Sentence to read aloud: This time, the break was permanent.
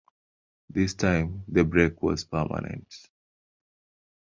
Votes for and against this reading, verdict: 3, 0, accepted